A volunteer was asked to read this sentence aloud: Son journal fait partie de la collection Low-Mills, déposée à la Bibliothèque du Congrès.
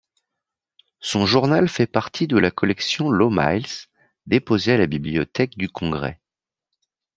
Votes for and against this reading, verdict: 2, 0, accepted